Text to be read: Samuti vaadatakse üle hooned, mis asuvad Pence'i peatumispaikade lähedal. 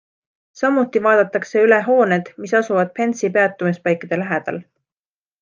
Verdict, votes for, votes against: accepted, 2, 0